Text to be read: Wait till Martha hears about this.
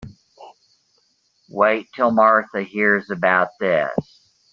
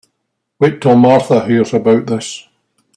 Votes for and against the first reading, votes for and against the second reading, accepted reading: 1, 2, 3, 0, second